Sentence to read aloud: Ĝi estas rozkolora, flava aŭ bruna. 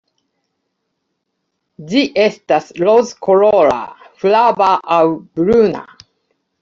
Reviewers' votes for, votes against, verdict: 2, 0, accepted